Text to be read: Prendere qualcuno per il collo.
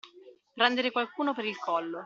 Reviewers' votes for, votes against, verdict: 2, 0, accepted